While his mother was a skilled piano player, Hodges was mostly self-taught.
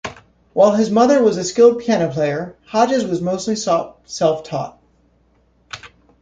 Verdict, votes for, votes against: rejected, 1, 2